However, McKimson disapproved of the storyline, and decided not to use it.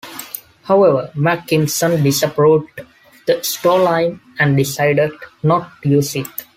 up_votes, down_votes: 2, 1